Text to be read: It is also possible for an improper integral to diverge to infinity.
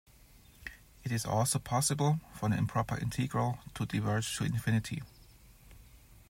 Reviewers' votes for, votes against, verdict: 2, 1, accepted